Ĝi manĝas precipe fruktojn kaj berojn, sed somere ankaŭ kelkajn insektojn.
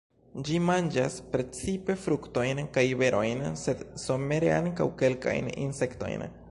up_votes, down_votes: 2, 0